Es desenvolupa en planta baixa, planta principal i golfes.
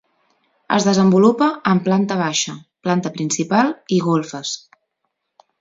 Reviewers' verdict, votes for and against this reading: accepted, 2, 0